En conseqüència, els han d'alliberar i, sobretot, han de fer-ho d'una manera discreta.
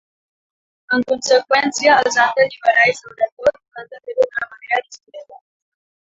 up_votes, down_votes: 1, 2